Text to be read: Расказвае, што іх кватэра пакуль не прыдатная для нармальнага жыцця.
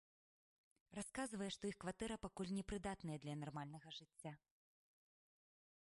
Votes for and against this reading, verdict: 1, 2, rejected